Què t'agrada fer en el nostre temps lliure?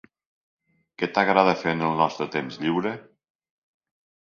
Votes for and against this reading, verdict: 2, 0, accepted